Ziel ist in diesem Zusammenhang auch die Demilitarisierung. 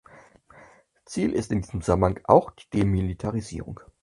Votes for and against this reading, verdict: 2, 4, rejected